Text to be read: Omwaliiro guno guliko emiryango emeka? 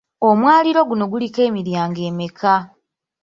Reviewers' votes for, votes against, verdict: 2, 0, accepted